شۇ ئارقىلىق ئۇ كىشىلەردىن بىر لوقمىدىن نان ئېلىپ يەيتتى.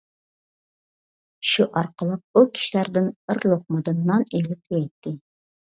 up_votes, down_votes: 2, 1